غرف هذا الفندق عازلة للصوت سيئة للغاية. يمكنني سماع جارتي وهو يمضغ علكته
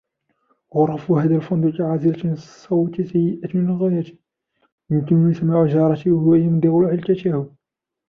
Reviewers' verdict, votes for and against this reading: accepted, 2, 1